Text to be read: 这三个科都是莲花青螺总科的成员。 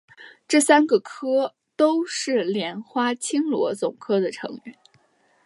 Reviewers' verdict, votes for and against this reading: rejected, 2, 3